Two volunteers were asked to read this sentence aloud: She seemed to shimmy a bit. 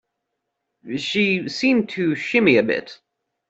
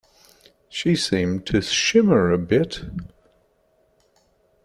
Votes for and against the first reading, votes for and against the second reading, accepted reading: 2, 0, 0, 2, first